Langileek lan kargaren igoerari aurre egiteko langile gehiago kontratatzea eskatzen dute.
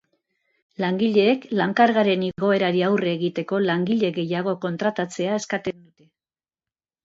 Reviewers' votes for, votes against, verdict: 0, 2, rejected